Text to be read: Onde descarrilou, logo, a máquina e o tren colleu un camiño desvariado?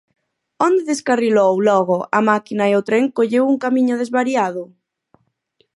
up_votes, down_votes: 4, 0